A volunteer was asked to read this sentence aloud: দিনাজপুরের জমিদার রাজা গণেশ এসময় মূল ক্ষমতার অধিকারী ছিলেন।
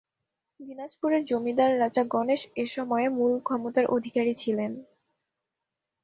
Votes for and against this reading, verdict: 2, 0, accepted